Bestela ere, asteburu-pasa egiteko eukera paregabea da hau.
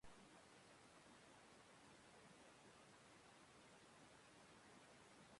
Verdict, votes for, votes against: rejected, 0, 2